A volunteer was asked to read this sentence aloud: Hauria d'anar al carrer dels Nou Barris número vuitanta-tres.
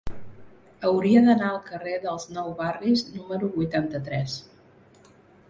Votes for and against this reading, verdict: 3, 0, accepted